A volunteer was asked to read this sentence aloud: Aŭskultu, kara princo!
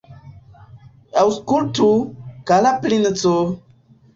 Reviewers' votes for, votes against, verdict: 0, 2, rejected